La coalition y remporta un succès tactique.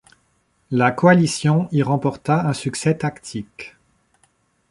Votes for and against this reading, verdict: 2, 0, accepted